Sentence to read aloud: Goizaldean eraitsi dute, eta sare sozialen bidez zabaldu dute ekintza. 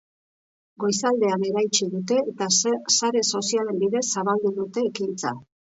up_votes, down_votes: 1, 2